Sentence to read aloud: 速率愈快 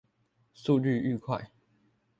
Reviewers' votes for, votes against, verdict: 2, 0, accepted